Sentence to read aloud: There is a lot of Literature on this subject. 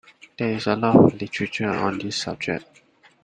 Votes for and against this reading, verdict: 2, 0, accepted